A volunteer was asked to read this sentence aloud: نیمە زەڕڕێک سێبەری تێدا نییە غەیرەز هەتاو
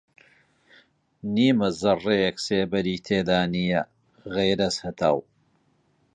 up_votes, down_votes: 2, 1